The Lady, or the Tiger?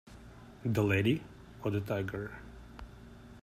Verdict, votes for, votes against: accepted, 2, 0